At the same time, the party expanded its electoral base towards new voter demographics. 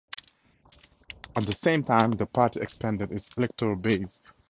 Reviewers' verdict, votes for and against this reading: rejected, 0, 2